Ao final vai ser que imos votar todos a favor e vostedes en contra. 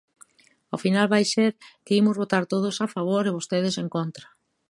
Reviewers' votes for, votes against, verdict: 2, 0, accepted